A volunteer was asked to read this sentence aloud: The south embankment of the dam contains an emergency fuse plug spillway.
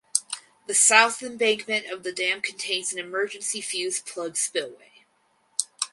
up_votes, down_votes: 0, 4